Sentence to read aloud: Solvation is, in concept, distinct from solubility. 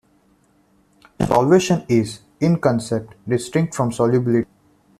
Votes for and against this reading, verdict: 1, 2, rejected